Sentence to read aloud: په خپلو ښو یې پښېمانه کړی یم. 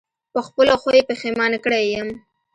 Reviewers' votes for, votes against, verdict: 0, 2, rejected